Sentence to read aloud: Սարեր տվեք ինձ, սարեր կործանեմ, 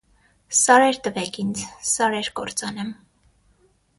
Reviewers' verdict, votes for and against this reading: accepted, 6, 0